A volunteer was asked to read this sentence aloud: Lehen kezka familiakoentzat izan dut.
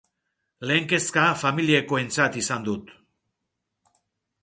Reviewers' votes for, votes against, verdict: 1, 2, rejected